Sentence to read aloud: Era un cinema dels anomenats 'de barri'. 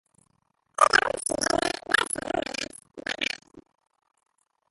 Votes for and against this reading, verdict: 0, 2, rejected